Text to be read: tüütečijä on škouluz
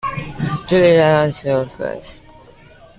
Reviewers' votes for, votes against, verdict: 0, 2, rejected